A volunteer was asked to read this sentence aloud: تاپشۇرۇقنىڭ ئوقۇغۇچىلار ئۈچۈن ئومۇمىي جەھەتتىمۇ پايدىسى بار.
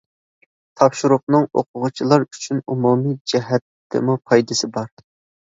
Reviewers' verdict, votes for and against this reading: accepted, 2, 0